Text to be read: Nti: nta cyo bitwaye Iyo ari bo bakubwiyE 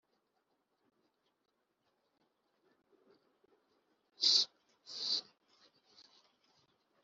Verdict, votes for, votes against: rejected, 0, 4